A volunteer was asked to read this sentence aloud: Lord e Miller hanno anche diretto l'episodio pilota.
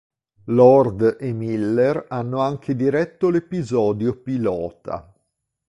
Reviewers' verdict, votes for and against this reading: accepted, 2, 0